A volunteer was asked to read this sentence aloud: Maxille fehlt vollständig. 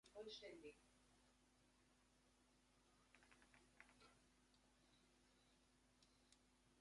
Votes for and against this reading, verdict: 0, 2, rejected